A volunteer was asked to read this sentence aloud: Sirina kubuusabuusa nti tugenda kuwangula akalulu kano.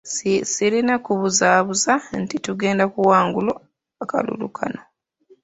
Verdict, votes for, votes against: rejected, 0, 2